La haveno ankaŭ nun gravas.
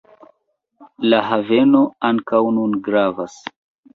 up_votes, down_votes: 0, 2